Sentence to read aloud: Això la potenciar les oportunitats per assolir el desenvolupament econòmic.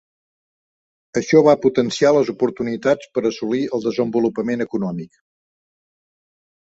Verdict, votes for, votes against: accepted, 2, 0